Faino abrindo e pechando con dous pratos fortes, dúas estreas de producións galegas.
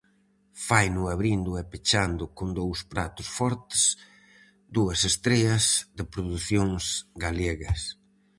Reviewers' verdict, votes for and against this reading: rejected, 0, 4